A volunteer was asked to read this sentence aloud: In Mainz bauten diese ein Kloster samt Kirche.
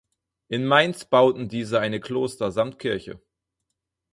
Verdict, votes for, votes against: rejected, 0, 4